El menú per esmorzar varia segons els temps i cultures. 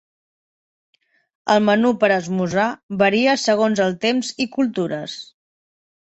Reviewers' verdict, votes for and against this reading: accepted, 3, 1